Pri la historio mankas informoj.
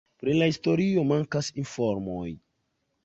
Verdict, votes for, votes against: rejected, 1, 2